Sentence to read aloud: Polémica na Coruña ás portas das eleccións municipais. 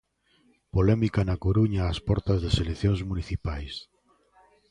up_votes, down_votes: 2, 0